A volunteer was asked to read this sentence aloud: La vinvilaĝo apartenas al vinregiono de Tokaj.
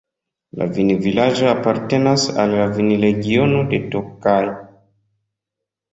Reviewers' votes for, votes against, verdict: 0, 2, rejected